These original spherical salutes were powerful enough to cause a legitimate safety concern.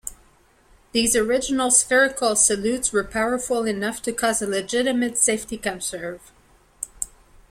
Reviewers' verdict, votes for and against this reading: rejected, 1, 2